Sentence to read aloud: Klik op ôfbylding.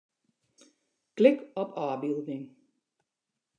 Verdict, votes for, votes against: accepted, 2, 0